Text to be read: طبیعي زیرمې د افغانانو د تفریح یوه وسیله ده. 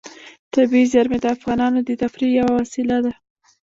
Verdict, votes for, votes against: rejected, 0, 2